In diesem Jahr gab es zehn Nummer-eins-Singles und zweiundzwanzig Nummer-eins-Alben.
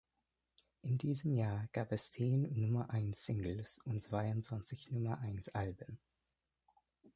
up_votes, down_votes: 3, 0